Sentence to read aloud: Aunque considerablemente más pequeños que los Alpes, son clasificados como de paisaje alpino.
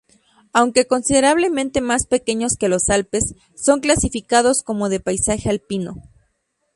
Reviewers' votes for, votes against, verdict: 4, 0, accepted